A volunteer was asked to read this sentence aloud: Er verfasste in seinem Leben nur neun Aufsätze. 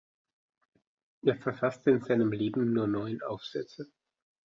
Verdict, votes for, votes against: accepted, 2, 1